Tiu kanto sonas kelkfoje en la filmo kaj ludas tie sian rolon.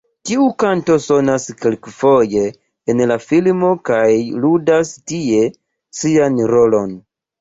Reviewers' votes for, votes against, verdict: 2, 0, accepted